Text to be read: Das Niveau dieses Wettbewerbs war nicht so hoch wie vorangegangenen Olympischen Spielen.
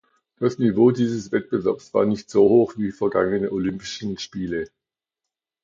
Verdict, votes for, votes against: rejected, 0, 2